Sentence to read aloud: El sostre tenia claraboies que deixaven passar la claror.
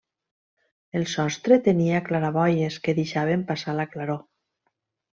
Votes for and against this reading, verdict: 3, 0, accepted